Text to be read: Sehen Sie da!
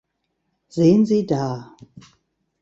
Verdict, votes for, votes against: rejected, 0, 2